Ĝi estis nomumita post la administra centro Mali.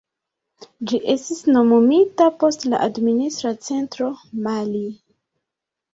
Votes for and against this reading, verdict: 2, 0, accepted